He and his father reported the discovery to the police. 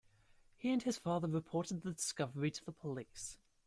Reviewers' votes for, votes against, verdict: 0, 2, rejected